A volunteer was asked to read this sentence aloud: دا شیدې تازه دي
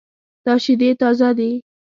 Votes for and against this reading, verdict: 2, 0, accepted